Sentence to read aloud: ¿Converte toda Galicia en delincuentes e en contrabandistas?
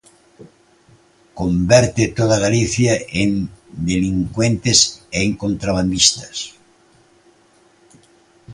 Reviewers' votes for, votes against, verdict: 2, 0, accepted